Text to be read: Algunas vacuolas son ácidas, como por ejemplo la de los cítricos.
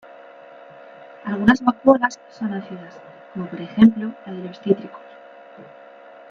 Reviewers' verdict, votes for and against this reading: accepted, 2, 1